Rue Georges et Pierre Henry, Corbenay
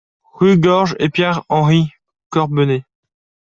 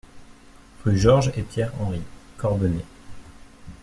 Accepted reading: second